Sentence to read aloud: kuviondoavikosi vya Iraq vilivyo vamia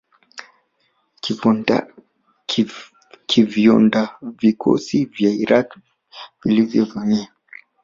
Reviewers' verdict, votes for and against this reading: rejected, 1, 2